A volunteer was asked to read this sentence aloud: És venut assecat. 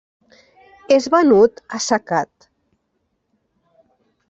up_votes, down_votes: 3, 0